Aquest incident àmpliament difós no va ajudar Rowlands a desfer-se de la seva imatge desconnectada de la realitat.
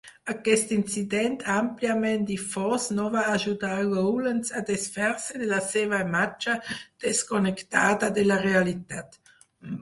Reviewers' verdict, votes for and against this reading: accepted, 4, 2